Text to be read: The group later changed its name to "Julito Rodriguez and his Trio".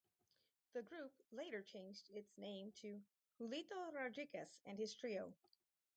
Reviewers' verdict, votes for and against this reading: rejected, 0, 2